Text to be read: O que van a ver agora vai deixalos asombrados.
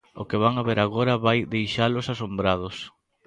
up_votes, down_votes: 1, 2